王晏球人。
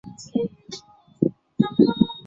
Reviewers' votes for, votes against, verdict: 0, 2, rejected